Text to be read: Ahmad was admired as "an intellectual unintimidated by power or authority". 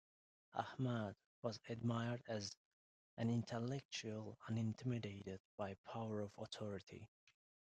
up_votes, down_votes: 1, 2